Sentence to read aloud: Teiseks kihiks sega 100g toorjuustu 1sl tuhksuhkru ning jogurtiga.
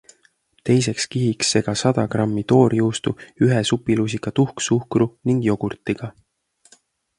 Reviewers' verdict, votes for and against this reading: rejected, 0, 2